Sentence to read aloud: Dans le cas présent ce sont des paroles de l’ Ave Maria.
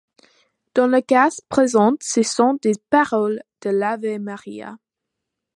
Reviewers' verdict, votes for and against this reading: rejected, 1, 2